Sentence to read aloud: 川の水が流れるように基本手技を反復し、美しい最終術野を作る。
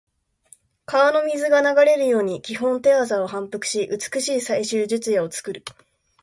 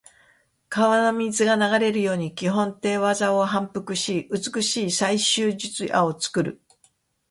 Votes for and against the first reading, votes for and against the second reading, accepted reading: 2, 0, 0, 2, first